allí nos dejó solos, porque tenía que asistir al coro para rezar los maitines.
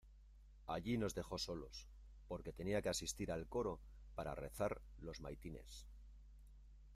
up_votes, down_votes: 2, 0